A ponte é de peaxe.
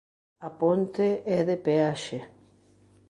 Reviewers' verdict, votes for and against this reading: accepted, 3, 0